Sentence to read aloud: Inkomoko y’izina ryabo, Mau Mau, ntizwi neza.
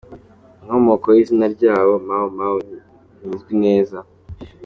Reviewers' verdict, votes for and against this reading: accepted, 2, 0